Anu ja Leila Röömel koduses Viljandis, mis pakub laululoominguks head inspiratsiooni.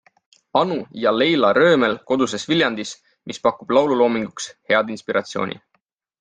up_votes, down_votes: 3, 0